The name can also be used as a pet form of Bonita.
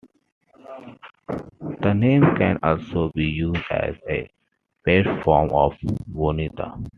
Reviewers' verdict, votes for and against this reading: accepted, 2, 0